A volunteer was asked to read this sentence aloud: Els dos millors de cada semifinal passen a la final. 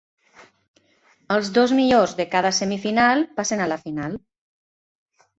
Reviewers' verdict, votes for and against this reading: accepted, 2, 0